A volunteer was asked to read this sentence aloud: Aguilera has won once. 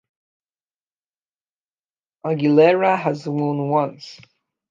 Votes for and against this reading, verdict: 2, 1, accepted